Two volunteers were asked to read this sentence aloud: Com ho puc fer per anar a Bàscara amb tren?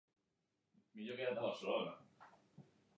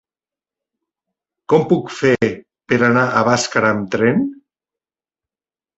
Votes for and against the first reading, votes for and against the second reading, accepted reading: 0, 2, 2, 0, second